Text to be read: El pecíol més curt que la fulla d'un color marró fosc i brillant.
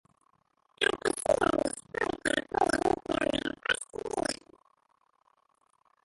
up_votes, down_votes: 0, 2